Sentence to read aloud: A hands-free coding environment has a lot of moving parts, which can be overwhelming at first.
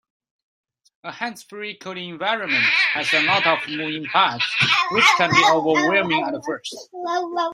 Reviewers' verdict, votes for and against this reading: rejected, 0, 2